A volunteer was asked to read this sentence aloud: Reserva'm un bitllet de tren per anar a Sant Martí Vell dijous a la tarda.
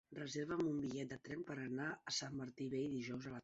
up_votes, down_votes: 1, 2